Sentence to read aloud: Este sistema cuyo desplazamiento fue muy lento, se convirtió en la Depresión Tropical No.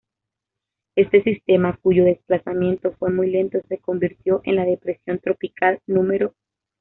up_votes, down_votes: 2, 0